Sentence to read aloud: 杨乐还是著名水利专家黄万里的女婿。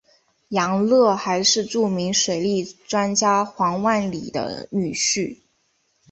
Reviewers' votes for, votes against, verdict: 2, 0, accepted